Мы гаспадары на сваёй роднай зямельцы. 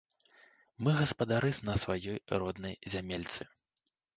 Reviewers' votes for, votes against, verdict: 0, 2, rejected